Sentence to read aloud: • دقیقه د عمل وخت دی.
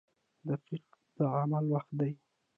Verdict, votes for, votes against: accepted, 2, 1